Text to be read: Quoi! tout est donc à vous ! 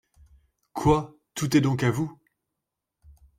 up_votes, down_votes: 2, 0